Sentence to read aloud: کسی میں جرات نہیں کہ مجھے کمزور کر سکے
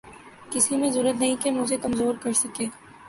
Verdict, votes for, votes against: accepted, 4, 0